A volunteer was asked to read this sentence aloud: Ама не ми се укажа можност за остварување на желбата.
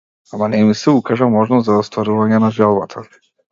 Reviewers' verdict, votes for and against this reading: accepted, 2, 0